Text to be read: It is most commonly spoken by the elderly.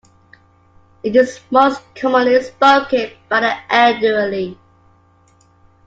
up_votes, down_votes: 2, 0